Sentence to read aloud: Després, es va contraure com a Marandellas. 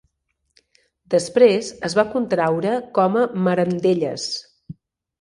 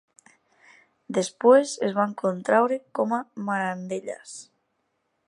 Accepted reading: first